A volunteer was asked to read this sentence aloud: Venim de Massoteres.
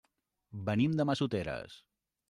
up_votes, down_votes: 3, 0